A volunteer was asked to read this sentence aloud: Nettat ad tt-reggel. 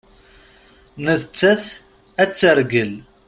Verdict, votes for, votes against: rejected, 1, 2